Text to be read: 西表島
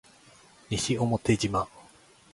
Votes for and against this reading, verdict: 0, 2, rejected